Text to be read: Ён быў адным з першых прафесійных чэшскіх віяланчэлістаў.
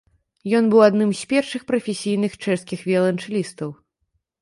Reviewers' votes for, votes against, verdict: 2, 0, accepted